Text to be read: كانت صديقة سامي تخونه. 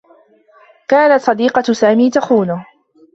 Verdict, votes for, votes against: accepted, 2, 0